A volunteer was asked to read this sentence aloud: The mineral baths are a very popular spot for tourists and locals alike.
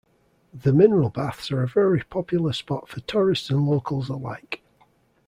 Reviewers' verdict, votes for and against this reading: accepted, 2, 0